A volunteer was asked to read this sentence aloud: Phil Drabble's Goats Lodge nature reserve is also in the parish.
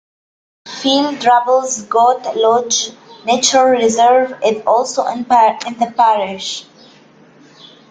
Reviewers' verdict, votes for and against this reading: rejected, 0, 2